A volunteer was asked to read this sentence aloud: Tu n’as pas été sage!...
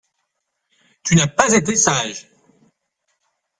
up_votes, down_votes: 2, 1